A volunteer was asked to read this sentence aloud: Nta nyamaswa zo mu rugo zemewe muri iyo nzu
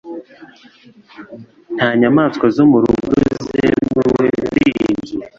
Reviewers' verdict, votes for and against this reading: rejected, 0, 2